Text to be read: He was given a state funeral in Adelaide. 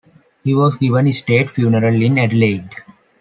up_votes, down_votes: 2, 0